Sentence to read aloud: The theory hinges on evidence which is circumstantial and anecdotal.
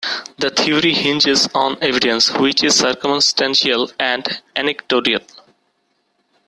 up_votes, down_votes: 0, 2